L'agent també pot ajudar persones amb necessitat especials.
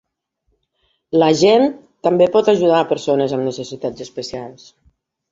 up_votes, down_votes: 2, 0